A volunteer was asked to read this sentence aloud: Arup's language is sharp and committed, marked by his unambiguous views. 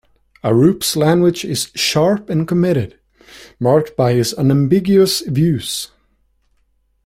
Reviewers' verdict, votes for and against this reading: accepted, 2, 0